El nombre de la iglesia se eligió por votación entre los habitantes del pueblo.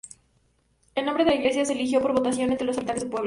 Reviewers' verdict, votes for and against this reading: rejected, 0, 2